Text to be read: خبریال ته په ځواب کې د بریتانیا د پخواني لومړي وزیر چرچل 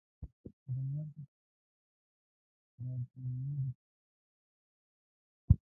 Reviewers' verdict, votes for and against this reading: rejected, 1, 3